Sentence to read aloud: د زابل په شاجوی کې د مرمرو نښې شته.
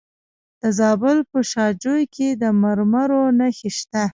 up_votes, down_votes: 1, 2